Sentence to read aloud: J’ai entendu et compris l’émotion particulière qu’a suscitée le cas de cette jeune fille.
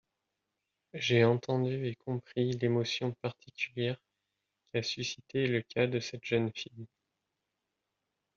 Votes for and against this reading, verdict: 1, 2, rejected